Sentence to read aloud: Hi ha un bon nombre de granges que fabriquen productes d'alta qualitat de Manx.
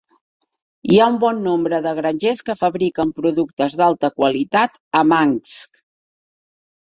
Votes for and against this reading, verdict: 0, 2, rejected